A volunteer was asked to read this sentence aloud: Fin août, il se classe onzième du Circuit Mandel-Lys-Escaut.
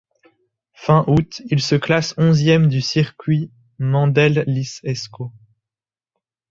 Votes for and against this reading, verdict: 2, 0, accepted